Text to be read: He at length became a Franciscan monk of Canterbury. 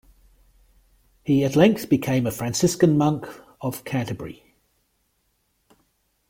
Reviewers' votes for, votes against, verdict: 2, 0, accepted